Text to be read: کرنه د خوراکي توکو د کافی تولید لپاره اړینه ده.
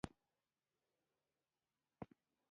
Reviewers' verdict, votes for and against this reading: rejected, 1, 2